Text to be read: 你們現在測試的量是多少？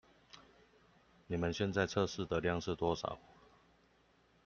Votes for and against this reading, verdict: 2, 0, accepted